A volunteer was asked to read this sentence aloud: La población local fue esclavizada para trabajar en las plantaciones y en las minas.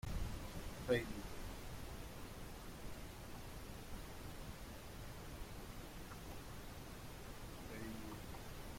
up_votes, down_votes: 0, 2